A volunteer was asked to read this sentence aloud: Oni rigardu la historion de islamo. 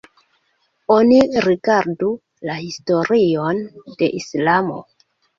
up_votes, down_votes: 2, 3